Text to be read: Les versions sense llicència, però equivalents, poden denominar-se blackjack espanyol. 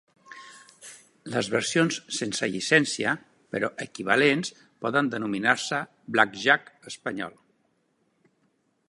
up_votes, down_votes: 3, 0